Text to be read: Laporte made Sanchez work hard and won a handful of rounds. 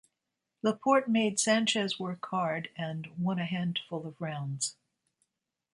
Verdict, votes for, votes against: accepted, 2, 0